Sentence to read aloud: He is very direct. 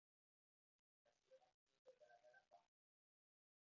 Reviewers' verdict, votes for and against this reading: rejected, 0, 2